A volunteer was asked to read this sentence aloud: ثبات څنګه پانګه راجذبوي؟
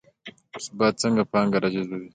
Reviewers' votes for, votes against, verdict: 2, 0, accepted